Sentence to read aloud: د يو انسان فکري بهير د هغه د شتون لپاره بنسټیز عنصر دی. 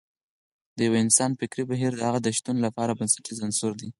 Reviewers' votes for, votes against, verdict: 4, 0, accepted